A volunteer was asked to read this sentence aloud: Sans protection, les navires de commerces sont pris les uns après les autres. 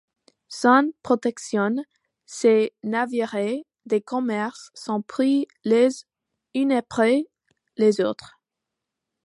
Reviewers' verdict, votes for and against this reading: rejected, 1, 2